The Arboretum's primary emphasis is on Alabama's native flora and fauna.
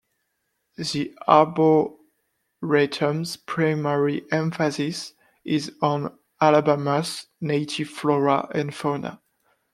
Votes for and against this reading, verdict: 1, 2, rejected